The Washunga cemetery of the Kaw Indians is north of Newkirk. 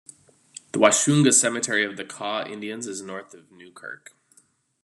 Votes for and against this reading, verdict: 2, 1, accepted